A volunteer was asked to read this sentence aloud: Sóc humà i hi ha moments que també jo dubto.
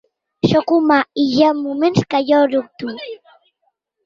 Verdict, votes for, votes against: rejected, 0, 2